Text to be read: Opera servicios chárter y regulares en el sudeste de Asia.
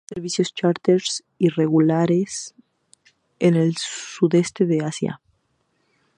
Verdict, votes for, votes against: rejected, 2, 2